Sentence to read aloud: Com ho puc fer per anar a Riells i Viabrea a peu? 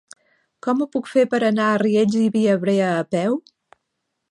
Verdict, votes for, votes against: accepted, 2, 0